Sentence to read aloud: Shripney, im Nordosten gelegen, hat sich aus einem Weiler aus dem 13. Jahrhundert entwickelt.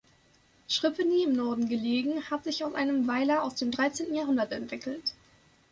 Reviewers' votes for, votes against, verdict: 0, 2, rejected